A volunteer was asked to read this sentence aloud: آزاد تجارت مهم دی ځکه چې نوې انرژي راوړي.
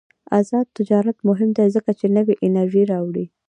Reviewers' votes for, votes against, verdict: 0, 2, rejected